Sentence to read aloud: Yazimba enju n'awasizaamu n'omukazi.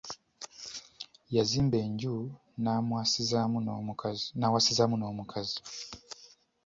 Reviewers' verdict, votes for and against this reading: rejected, 1, 2